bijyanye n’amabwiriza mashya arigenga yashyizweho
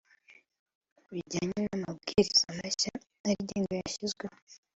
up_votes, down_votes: 3, 0